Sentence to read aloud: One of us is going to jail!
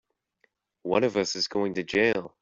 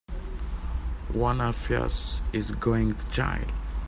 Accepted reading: first